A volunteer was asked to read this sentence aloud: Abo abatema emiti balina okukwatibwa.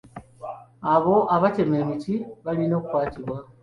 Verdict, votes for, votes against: accepted, 2, 0